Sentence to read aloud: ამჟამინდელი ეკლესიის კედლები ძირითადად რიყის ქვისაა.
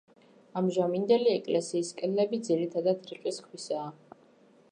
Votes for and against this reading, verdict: 2, 1, accepted